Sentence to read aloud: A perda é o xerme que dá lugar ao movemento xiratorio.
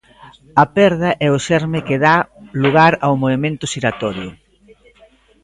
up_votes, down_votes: 2, 1